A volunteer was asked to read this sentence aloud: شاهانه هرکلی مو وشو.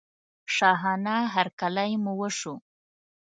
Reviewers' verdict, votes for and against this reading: accepted, 2, 0